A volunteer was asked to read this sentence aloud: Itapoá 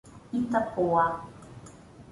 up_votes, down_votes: 1, 2